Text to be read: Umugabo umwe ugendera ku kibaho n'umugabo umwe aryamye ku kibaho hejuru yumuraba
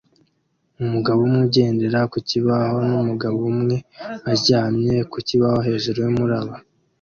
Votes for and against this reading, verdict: 2, 0, accepted